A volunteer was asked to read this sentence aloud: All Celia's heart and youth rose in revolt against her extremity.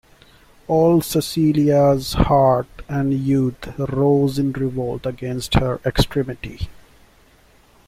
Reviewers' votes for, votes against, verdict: 0, 2, rejected